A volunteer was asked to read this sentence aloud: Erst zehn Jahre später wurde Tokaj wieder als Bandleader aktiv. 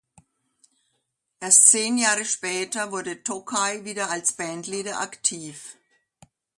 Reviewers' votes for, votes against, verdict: 2, 0, accepted